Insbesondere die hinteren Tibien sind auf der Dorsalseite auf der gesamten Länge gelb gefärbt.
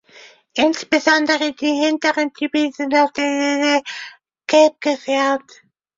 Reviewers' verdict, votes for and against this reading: rejected, 0, 2